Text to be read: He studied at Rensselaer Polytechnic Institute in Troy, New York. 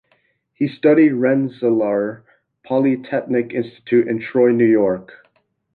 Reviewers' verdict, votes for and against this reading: rejected, 0, 2